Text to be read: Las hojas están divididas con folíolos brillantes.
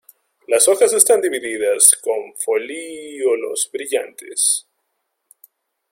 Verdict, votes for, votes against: accepted, 2, 0